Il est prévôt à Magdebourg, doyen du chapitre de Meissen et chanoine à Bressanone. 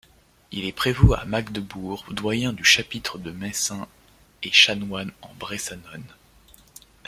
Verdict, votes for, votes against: rejected, 0, 2